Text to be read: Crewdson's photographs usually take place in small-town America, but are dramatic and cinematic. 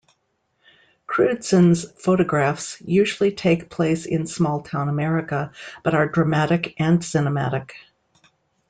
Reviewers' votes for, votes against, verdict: 2, 0, accepted